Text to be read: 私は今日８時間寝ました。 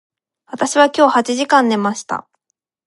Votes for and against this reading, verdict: 0, 2, rejected